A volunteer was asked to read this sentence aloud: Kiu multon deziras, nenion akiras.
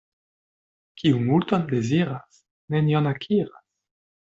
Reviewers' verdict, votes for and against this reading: rejected, 1, 2